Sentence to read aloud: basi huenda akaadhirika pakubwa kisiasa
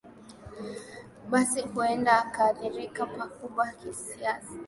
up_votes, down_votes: 2, 1